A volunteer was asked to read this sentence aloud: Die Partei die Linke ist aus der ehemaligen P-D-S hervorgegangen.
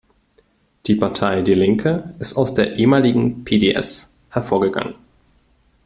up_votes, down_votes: 2, 0